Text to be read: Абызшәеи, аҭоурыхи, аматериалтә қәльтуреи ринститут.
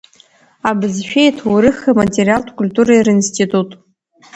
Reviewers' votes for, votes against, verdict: 2, 0, accepted